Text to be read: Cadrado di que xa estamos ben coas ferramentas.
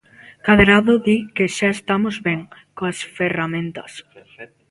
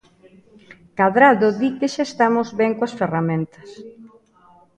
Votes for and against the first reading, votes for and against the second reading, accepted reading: 0, 2, 2, 1, second